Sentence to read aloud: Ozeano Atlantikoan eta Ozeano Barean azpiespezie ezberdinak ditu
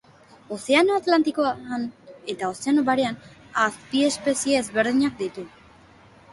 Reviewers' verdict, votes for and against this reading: rejected, 1, 2